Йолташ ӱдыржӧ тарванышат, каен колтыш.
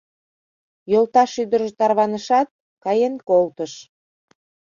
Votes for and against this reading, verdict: 2, 0, accepted